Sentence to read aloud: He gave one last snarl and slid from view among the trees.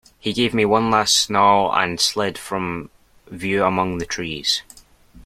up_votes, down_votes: 0, 2